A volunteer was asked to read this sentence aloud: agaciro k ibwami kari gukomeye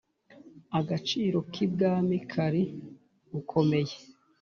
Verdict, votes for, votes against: accepted, 3, 0